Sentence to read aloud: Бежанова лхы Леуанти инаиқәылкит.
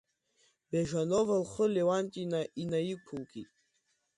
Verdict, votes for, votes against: accepted, 2, 1